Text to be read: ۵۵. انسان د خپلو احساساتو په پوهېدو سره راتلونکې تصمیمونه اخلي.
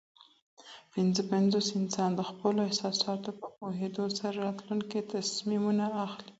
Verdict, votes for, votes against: rejected, 0, 2